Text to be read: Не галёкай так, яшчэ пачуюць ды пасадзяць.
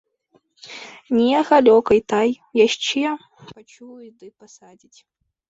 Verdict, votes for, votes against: rejected, 1, 2